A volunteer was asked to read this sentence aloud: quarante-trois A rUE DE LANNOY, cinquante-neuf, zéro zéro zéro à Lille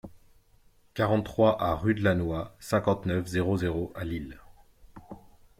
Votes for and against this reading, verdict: 0, 2, rejected